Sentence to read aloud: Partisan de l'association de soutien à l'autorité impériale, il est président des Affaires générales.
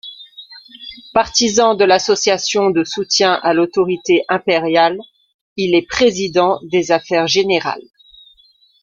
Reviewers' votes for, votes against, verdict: 2, 1, accepted